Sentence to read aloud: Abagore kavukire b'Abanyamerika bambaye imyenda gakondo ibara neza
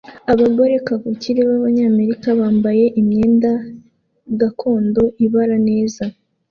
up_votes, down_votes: 2, 0